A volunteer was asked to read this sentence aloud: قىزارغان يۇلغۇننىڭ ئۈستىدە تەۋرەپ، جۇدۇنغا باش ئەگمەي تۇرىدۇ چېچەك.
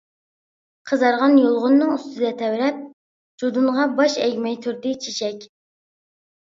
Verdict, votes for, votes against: rejected, 1, 2